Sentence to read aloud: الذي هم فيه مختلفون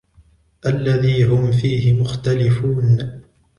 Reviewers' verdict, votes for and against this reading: accepted, 2, 0